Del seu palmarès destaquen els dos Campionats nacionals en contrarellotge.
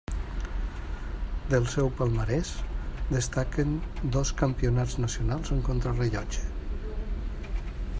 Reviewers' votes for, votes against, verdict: 1, 2, rejected